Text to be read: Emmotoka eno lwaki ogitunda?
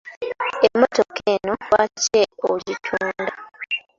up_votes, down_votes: 2, 1